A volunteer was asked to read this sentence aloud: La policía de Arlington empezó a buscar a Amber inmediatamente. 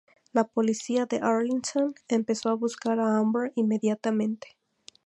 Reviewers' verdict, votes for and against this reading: accepted, 2, 0